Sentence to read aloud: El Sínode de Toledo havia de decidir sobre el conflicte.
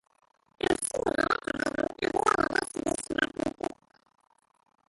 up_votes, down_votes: 0, 2